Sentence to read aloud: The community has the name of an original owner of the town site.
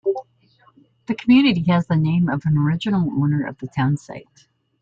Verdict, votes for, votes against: accepted, 3, 0